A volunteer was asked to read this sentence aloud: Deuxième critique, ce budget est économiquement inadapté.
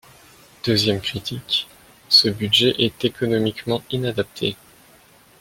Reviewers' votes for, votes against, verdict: 2, 0, accepted